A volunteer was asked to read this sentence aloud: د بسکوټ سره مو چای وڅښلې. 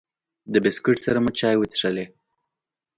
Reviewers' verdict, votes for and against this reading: accepted, 2, 0